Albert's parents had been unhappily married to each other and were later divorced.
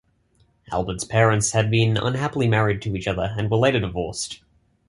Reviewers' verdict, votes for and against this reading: accepted, 2, 0